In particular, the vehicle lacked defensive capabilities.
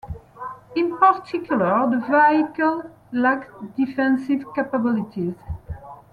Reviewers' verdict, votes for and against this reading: accepted, 2, 0